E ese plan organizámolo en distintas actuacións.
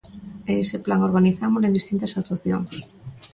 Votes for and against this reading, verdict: 2, 0, accepted